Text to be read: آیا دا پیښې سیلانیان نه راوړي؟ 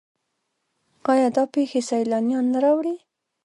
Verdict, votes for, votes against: accepted, 2, 0